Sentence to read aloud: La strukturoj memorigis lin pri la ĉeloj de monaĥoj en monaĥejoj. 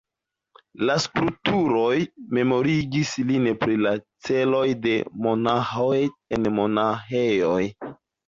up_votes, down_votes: 2, 1